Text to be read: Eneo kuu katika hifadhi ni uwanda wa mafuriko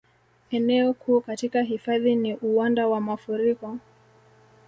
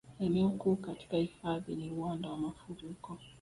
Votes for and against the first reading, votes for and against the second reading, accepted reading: 2, 0, 0, 2, first